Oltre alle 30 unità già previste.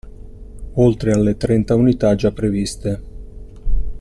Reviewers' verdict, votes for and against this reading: rejected, 0, 2